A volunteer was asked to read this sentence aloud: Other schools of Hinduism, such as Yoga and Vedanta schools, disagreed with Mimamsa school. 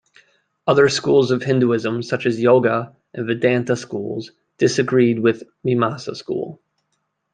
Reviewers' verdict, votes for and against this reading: rejected, 0, 2